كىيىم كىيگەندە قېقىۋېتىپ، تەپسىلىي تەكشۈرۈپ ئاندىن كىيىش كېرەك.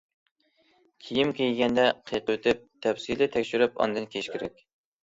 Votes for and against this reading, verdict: 2, 0, accepted